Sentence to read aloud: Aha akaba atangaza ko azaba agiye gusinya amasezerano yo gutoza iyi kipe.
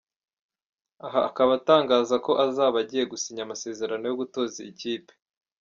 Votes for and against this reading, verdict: 0, 2, rejected